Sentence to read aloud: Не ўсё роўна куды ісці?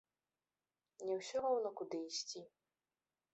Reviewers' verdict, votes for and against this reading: rejected, 1, 2